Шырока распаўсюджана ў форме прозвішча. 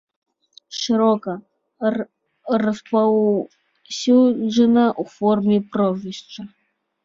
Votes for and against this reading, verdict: 1, 2, rejected